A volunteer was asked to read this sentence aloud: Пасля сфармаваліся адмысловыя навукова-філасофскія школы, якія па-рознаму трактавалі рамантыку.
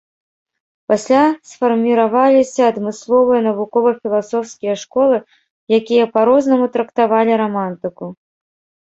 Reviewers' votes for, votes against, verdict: 1, 2, rejected